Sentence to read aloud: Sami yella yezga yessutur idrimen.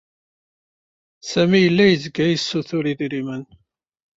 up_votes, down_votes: 2, 0